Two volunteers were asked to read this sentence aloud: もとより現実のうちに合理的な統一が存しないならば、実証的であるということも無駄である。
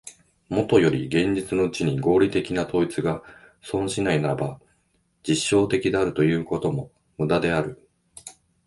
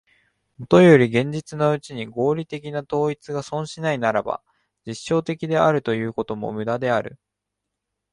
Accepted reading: second